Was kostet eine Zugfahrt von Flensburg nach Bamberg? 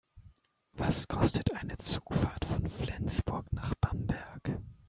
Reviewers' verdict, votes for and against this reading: rejected, 1, 2